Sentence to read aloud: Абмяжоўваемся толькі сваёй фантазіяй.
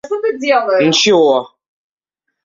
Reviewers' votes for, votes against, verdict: 0, 2, rejected